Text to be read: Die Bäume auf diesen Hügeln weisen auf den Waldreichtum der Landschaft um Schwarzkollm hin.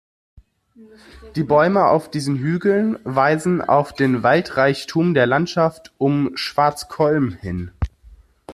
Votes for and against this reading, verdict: 2, 0, accepted